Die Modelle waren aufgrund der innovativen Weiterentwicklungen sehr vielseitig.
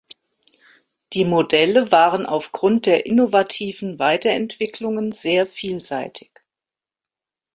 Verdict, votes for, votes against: accepted, 2, 0